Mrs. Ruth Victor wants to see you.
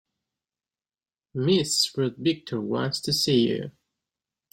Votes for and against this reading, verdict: 1, 3, rejected